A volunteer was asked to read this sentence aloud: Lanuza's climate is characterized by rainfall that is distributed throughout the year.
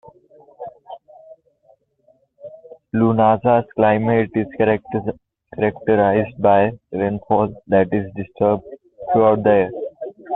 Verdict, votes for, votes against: rejected, 0, 2